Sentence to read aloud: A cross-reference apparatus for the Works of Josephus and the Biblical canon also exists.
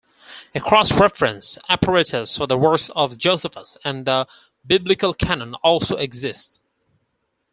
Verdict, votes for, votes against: rejected, 0, 4